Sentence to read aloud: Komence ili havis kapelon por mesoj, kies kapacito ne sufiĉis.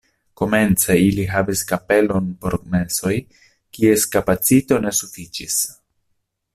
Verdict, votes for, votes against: accepted, 2, 1